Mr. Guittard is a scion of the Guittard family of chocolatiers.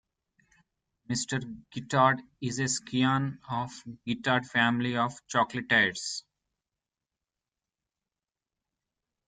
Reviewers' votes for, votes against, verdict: 1, 2, rejected